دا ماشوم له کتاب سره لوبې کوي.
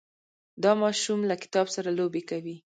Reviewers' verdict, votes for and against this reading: rejected, 0, 2